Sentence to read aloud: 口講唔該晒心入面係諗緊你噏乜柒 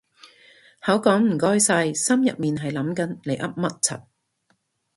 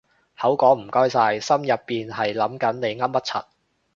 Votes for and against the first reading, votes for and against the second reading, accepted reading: 2, 0, 0, 2, first